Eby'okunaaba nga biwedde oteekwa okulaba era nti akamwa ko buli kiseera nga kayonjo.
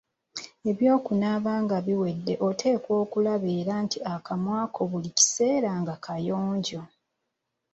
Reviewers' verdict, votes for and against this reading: accepted, 2, 0